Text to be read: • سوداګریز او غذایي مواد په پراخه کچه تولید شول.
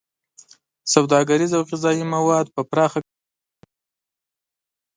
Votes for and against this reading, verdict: 1, 2, rejected